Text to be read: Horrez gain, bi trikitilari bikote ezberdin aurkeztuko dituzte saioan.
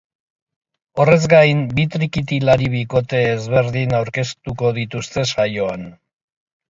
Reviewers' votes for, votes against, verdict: 3, 1, accepted